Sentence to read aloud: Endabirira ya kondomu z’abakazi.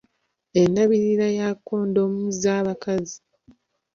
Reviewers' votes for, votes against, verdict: 2, 0, accepted